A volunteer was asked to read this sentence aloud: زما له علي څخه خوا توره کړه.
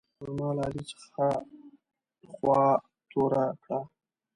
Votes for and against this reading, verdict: 1, 2, rejected